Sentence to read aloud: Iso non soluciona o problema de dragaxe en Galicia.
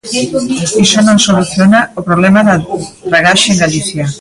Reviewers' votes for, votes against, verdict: 1, 2, rejected